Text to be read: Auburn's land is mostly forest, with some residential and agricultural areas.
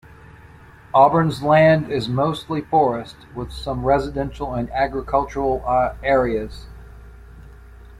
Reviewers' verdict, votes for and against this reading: rejected, 0, 2